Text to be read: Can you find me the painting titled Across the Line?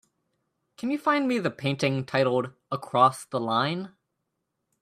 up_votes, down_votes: 2, 0